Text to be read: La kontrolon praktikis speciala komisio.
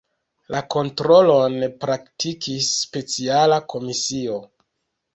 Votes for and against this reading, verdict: 2, 0, accepted